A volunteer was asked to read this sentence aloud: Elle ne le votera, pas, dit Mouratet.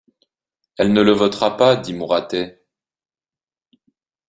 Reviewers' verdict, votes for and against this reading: accepted, 2, 0